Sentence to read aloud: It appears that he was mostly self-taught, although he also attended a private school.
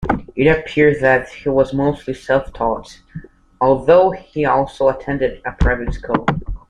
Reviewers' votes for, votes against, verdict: 2, 0, accepted